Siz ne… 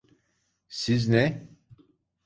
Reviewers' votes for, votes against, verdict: 2, 0, accepted